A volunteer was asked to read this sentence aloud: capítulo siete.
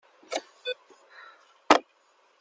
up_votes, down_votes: 0, 2